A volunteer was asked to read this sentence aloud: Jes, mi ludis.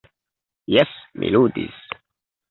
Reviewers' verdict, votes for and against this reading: accepted, 2, 0